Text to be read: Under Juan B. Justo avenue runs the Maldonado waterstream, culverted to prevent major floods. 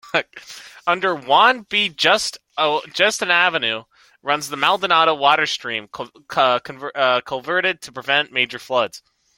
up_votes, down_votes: 2, 1